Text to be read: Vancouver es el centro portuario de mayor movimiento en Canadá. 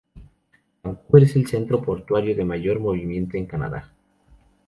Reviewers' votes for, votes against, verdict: 2, 0, accepted